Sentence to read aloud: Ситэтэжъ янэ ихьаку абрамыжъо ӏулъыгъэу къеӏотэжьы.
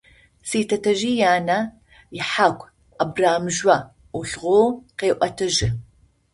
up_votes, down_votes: 0, 2